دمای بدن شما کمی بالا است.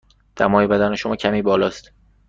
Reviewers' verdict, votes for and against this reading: accepted, 2, 0